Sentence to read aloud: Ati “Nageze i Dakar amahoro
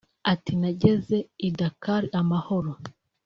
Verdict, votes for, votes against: accepted, 4, 0